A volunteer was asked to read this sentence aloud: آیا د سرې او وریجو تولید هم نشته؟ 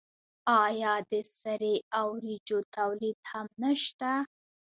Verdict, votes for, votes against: accepted, 2, 0